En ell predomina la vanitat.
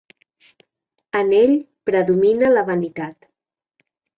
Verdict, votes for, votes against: accepted, 2, 0